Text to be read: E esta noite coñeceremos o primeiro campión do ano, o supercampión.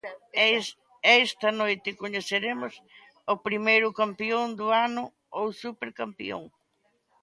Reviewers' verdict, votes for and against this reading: rejected, 0, 2